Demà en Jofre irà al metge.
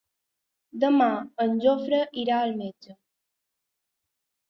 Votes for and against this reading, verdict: 3, 0, accepted